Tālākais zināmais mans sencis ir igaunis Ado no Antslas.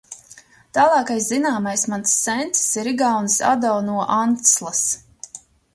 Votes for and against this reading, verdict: 2, 0, accepted